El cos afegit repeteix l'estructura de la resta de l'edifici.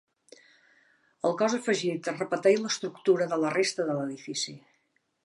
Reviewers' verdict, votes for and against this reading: rejected, 1, 2